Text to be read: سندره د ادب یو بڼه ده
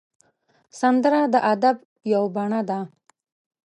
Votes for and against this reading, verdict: 1, 2, rejected